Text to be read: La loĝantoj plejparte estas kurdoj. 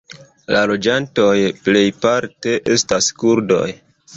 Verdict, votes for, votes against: accepted, 2, 0